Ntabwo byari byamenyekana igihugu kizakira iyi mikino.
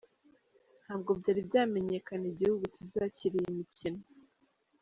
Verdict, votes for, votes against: accepted, 2, 0